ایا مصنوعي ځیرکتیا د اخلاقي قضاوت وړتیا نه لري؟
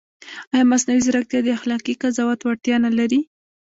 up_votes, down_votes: 1, 2